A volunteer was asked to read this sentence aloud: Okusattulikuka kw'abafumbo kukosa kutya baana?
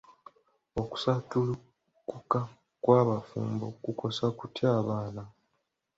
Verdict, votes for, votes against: rejected, 1, 4